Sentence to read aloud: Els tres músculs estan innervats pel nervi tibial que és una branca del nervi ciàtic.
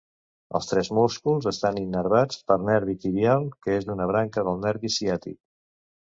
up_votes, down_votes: 0, 2